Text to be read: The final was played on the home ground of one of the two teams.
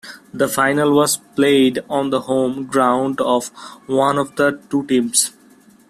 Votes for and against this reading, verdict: 2, 0, accepted